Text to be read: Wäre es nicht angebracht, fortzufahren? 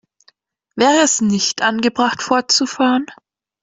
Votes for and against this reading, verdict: 2, 0, accepted